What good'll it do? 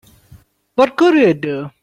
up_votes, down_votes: 2, 1